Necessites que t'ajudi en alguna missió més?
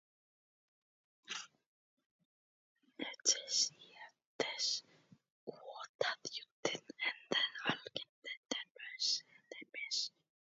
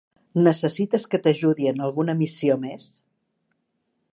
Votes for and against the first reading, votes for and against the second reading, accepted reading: 0, 2, 3, 0, second